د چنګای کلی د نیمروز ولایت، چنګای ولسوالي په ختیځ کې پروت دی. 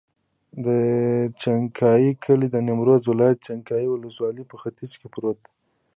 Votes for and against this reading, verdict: 2, 0, accepted